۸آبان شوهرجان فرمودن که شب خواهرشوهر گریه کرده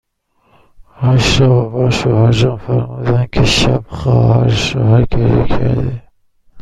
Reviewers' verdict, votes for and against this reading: rejected, 0, 2